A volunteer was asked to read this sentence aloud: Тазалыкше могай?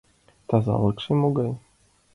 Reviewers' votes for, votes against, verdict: 2, 0, accepted